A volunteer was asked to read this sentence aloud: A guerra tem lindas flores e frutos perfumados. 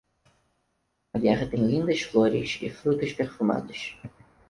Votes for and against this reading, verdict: 4, 2, accepted